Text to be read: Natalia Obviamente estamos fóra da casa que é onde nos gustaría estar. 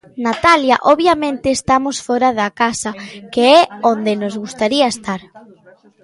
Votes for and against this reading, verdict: 2, 0, accepted